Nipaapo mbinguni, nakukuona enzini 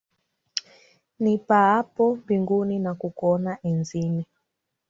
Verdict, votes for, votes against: rejected, 0, 2